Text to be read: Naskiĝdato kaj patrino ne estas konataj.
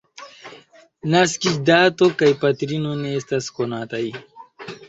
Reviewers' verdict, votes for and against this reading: accepted, 2, 0